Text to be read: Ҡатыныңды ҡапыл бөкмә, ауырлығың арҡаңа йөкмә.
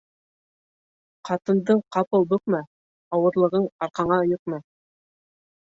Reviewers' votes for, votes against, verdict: 1, 2, rejected